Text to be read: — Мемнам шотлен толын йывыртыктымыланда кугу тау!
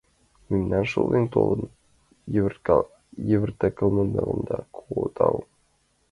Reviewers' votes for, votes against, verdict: 0, 2, rejected